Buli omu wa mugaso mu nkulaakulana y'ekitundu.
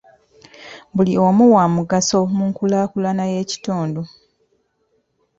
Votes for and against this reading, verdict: 1, 2, rejected